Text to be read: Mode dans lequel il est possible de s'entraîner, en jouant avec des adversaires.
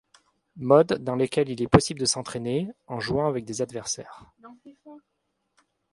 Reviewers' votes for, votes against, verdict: 2, 0, accepted